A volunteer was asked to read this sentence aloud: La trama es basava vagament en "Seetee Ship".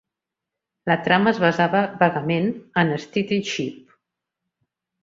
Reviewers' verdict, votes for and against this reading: rejected, 1, 2